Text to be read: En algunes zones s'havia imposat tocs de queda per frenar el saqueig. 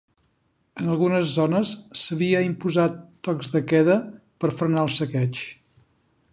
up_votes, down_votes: 3, 0